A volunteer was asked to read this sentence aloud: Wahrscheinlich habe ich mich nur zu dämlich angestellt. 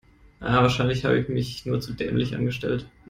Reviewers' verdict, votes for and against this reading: rejected, 0, 2